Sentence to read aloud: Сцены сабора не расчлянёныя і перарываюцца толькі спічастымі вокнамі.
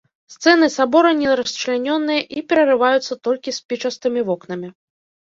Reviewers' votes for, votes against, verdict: 1, 2, rejected